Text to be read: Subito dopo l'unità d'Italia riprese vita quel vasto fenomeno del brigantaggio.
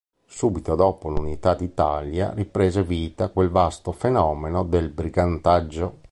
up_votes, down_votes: 3, 0